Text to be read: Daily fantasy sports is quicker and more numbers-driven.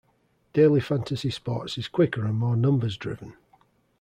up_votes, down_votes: 2, 0